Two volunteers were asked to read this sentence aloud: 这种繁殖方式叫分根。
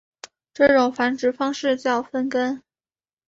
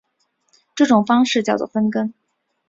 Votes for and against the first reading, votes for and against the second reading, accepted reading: 2, 0, 0, 2, first